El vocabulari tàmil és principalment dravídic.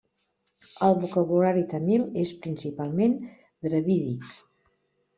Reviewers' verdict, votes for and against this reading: rejected, 0, 2